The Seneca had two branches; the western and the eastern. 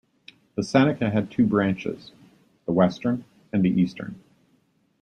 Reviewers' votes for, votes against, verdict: 2, 0, accepted